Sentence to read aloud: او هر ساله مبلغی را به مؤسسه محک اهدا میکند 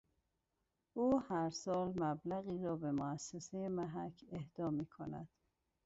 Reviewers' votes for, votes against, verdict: 2, 2, rejected